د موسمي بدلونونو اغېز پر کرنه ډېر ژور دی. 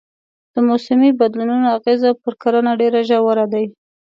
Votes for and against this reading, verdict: 1, 2, rejected